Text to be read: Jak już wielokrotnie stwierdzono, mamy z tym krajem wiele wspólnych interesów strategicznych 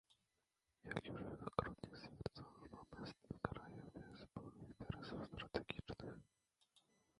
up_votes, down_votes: 0, 2